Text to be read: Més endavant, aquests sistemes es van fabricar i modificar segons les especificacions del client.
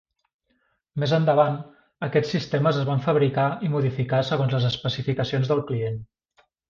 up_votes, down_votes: 3, 0